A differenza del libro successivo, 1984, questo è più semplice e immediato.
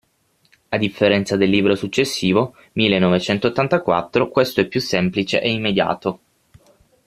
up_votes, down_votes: 0, 2